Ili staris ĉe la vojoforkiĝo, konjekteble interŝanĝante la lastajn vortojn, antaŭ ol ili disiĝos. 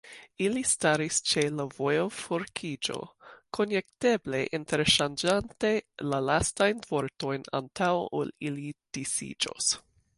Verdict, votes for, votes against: accepted, 2, 0